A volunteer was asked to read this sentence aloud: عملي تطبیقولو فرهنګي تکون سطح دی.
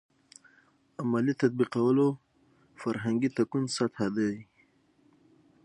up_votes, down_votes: 6, 3